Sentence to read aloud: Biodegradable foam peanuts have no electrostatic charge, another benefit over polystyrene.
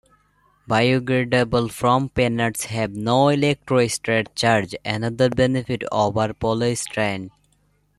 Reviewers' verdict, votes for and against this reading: rejected, 1, 2